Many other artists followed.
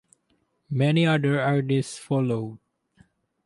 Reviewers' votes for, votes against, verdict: 2, 2, rejected